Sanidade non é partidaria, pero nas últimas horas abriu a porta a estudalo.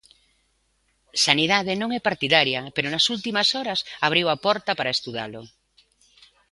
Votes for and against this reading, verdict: 1, 2, rejected